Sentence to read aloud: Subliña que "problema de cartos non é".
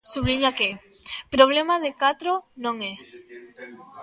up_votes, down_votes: 0, 2